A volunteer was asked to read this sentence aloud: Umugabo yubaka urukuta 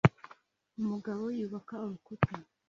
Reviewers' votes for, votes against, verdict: 2, 0, accepted